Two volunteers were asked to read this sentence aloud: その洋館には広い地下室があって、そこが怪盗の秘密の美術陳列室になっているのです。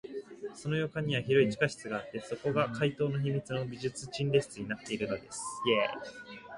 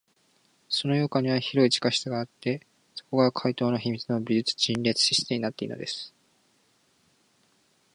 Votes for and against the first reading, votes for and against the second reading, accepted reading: 0, 2, 4, 0, second